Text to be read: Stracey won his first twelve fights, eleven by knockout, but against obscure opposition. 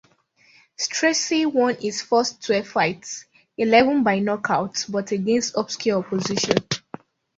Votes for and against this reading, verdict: 1, 2, rejected